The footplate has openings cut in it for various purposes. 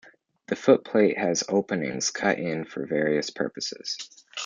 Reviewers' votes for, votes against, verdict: 0, 2, rejected